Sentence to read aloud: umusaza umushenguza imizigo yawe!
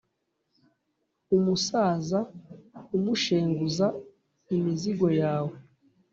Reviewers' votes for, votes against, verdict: 2, 0, accepted